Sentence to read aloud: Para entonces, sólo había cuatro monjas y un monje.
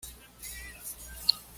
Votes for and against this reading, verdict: 1, 2, rejected